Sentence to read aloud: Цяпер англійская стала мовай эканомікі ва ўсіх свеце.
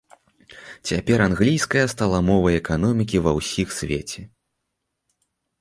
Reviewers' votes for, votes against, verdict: 2, 0, accepted